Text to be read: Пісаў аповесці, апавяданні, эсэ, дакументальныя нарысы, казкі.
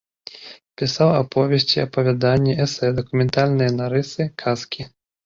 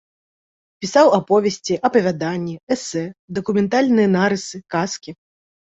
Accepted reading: second